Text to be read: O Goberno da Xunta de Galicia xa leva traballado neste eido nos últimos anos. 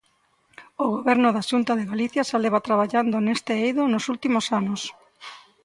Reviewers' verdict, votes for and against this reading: accepted, 2, 0